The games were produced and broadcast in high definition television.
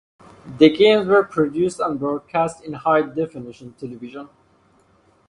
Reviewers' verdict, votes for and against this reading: accepted, 4, 2